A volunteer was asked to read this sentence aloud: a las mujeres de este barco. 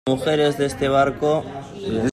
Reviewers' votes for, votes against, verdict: 0, 2, rejected